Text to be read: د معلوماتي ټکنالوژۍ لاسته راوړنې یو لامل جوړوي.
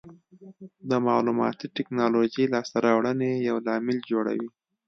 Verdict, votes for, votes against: accepted, 2, 1